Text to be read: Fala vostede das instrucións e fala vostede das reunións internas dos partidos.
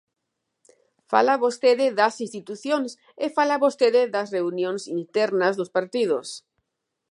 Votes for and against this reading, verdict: 0, 2, rejected